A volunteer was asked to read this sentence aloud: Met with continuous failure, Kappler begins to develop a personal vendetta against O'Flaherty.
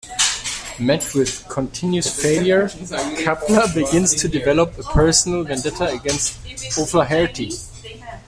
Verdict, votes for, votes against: accepted, 2, 1